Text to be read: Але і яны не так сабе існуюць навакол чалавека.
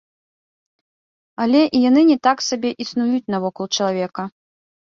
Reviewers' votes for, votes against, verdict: 1, 3, rejected